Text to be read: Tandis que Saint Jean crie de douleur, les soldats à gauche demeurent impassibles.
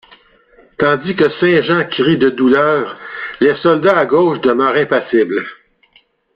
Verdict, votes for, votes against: rejected, 1, 2